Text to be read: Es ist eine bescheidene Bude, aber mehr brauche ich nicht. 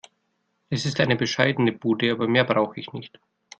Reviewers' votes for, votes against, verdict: 2, 0, accepted